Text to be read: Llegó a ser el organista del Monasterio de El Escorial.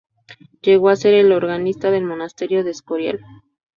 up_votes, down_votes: 2, 2